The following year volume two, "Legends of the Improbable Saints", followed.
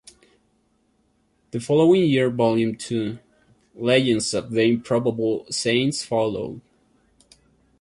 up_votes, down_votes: 1, 2